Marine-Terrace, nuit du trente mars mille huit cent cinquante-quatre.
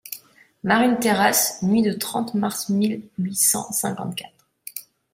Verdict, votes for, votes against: rejected, 1, 2